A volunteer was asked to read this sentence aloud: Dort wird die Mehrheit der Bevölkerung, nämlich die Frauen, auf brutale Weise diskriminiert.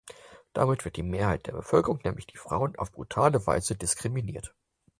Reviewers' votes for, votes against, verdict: 0, 4, rejected